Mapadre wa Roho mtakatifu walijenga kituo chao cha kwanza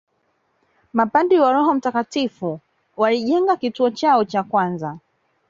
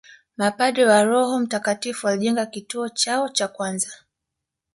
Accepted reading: second